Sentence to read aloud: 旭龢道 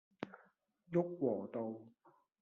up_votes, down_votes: 1, 2